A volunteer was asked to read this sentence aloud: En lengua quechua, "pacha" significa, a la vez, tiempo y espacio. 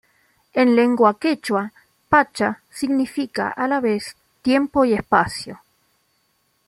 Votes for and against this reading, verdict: 2, 0, accepted